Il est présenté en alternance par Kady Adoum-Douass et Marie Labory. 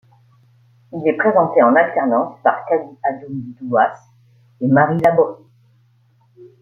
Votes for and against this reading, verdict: 2, 0, accepted